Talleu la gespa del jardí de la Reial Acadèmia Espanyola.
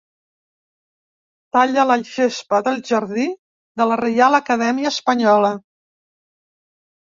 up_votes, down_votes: 0, 2